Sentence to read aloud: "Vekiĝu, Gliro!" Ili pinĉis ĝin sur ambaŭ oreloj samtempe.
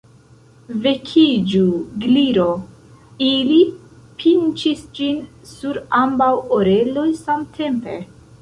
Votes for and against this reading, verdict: 0, 2, rejected